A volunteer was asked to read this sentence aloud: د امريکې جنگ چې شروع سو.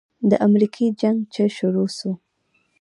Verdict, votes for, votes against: accepted, 2, 0